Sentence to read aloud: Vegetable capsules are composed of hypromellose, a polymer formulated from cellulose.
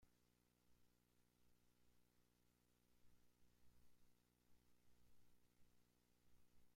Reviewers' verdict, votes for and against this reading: rejected, 0, 2